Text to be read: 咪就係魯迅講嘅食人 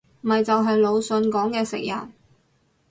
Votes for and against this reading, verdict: 2, 0, accepted